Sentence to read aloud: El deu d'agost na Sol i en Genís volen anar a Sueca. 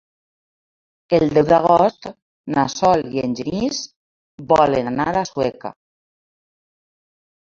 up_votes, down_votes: 2, 0